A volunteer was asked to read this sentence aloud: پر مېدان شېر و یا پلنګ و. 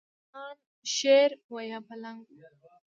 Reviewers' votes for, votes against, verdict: 2, 0, accepted